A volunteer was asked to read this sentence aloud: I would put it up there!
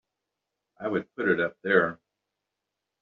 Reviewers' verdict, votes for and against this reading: accepted, 2, 0